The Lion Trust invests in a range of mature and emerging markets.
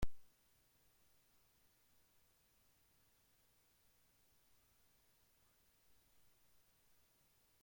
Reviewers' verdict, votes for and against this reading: rejected, 0, 2